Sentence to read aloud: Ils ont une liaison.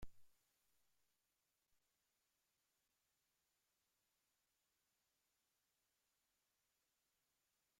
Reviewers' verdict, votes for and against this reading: rejected, 0, 2